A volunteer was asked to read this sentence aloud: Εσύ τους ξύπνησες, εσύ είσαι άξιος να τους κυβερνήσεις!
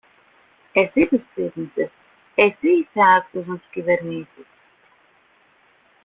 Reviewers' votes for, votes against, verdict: 2, 1, accepted